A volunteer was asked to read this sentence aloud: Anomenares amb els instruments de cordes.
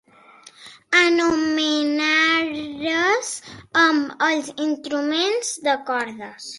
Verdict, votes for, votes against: accepted, 4, 2